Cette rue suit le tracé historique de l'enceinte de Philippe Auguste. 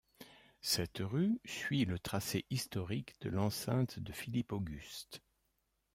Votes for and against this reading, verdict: 2, 0, accepted